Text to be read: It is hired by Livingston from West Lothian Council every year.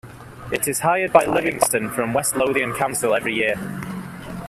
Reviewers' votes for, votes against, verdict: 2, 1, accepted